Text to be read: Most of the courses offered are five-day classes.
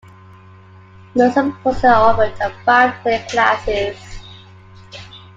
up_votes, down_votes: 2, 0